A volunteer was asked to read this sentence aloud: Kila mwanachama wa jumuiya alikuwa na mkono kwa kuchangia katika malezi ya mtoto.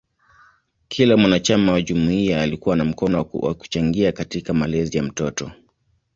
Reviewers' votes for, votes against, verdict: 2, 0, accepted